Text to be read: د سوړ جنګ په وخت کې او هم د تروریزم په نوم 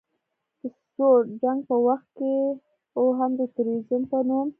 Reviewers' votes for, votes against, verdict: 1, 2, rejected